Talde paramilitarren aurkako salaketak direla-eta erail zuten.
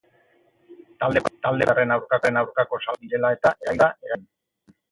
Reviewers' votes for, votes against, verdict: 0, 6, rejected